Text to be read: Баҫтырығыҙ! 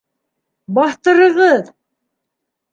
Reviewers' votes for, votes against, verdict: 2, 1, accepted